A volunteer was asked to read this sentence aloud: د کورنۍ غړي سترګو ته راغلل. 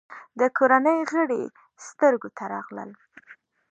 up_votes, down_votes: 2, 0